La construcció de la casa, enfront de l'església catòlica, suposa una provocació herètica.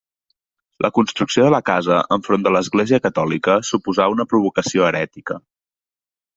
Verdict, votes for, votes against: rejected, 1, 2